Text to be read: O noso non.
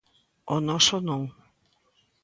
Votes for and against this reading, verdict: 2, 0, accepted